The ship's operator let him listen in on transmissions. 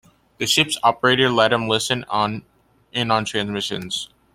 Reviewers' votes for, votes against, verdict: 0, 2, rejected